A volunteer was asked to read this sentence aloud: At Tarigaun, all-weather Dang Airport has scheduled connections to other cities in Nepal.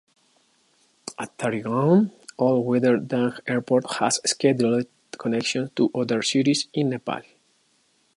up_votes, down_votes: 2, 1